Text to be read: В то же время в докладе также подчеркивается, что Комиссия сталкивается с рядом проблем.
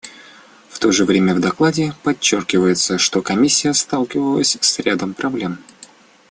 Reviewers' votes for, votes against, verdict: 0, 2, rejected